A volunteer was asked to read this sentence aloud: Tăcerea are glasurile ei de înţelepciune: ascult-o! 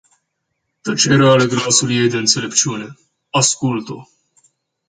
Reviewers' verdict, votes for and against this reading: rejected, 0, 2